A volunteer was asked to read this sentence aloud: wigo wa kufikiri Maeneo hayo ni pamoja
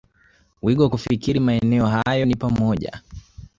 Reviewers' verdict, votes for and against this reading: accepted, 2, 0